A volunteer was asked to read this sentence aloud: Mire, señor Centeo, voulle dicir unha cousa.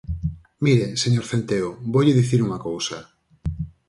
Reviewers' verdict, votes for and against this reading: accepted, 4, 0